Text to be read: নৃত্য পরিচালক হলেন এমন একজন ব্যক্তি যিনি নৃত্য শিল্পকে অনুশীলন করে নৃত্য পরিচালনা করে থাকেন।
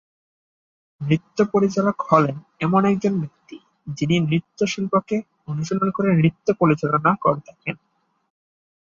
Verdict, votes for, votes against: rejected, 1, 3